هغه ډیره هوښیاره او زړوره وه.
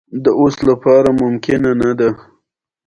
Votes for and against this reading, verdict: 0, 2, rejected